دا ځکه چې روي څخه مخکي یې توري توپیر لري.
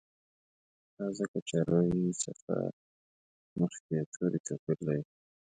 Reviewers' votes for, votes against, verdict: 0, 2, rejected